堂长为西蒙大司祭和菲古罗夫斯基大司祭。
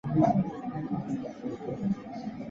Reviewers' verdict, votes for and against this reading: rejected, 0, 3